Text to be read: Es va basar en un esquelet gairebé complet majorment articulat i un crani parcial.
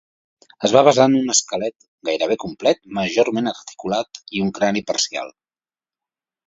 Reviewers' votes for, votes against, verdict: 2, 0, accepted